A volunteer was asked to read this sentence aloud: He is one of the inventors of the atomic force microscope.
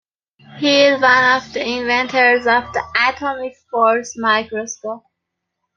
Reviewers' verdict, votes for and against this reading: rejected, 1, 2